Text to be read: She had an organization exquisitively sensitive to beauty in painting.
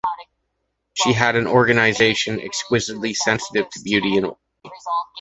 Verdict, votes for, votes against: rejected, 0, 2